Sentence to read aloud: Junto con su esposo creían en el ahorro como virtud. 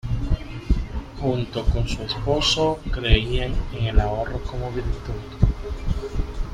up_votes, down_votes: 1, 2